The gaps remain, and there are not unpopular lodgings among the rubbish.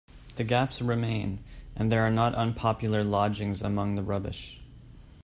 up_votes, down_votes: 2, 0